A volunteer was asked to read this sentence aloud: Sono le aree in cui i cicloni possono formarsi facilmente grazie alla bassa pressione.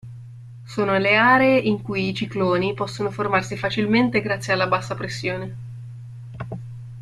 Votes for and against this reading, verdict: 2, 0, accepted